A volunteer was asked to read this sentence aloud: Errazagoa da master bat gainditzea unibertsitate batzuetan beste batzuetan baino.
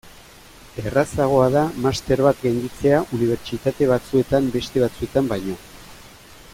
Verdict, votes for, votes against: accepted, 2, 0